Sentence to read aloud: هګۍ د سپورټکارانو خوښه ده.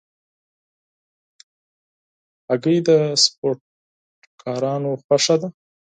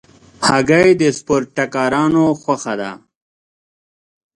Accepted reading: first